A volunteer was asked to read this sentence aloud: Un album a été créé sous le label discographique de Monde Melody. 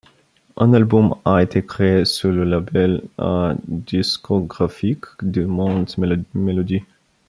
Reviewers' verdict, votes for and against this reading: rejected, 0, 2